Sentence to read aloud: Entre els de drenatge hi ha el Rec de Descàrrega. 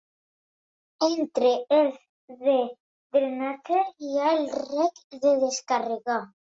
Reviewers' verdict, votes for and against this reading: rejected, 1, 2